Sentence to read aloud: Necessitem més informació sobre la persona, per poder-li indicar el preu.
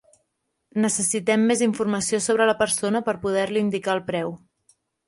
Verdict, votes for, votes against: accepted, 3, 0